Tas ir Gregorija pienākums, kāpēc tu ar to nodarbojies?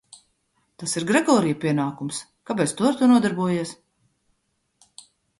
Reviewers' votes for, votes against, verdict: 2, 0, accepted